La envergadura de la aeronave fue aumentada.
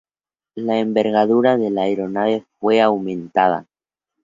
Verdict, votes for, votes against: accepted, 2, 0